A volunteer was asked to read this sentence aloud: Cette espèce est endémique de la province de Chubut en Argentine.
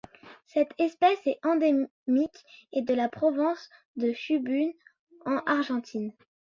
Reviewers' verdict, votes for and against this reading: rejected, 0, 2